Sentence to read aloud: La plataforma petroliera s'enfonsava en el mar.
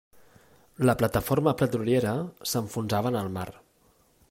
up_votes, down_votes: 5, 0